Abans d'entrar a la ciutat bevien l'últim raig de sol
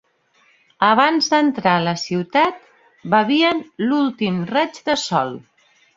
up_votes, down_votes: 2, 0